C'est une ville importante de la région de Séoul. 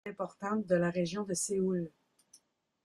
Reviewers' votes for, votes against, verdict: 1, 2, rejected